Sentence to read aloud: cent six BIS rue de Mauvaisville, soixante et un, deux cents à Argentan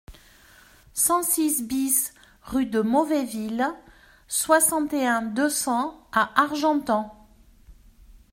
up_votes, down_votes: 2, 0